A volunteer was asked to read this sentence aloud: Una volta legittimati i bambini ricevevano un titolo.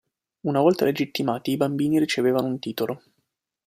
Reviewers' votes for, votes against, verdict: 2, 0, accepted